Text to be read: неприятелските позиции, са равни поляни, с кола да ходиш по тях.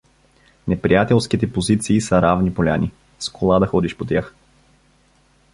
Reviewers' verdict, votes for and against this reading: accepted, 2, 0